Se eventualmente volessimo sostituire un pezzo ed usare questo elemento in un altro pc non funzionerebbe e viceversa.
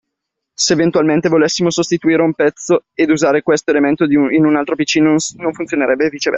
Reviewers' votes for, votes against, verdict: 0, 2, rejected